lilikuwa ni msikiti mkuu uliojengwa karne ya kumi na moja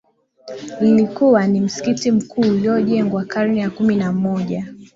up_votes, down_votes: 2, 0